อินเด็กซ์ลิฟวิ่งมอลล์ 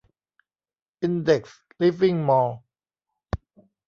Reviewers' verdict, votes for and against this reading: rejected, 1, 2